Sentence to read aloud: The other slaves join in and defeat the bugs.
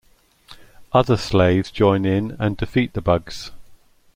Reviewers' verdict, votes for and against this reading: rejected, 1, 2